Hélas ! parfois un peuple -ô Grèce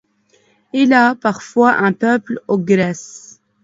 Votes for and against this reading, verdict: 0, 2, rejected